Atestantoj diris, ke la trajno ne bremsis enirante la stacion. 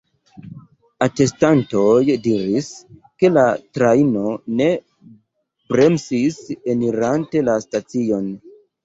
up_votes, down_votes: 2, 0